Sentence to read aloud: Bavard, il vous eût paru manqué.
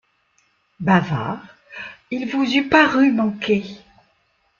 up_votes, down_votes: 2, 0